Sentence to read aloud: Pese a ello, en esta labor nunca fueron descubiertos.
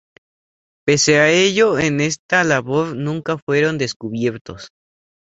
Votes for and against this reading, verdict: 2, 0, accepted